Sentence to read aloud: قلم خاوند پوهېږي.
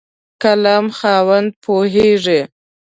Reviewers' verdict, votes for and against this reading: accepted, 2, 0